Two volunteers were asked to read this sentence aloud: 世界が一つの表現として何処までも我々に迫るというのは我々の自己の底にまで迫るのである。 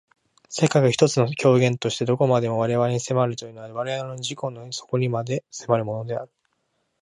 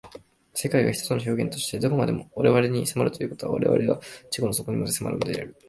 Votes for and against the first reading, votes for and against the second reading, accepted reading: 2, 1, 2, 3, first